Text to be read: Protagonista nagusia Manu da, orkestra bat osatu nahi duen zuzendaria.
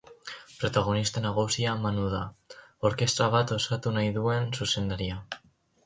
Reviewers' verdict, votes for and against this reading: accepted, 4, 2